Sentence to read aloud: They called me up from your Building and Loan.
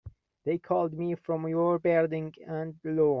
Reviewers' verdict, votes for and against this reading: rejected, 0, 2